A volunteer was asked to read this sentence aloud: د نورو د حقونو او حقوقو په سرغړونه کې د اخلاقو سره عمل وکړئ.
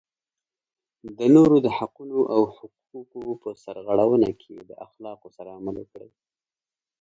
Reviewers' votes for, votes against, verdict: 1, 2, rejected